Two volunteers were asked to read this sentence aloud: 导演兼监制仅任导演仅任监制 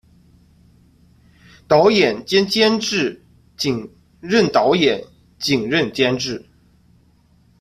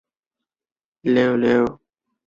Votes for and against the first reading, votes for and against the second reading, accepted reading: 2, 0, 0, 2, first